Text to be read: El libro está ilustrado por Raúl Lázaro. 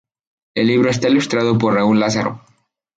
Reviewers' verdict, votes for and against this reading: rejected, 0, 2